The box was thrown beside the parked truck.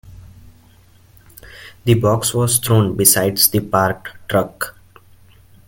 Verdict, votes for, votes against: rejected, 1, 2